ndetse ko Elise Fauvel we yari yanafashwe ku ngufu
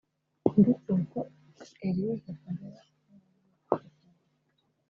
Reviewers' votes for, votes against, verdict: 1, 2, rejected